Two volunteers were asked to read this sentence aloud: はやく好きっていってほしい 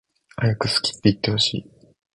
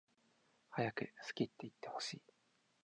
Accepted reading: first